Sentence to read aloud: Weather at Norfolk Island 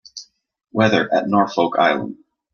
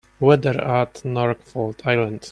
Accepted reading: first